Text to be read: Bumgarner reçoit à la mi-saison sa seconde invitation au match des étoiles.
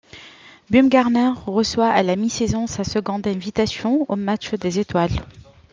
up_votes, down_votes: 2, 0